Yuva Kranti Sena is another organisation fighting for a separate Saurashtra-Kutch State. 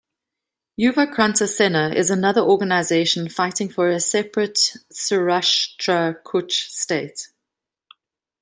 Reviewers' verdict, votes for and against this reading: rejected, 0, 2